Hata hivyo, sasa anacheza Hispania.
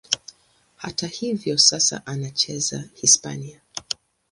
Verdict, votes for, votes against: accepted, 2, 0